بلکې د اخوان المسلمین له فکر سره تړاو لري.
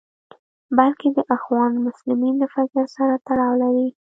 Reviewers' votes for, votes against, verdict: 2, 1, accepted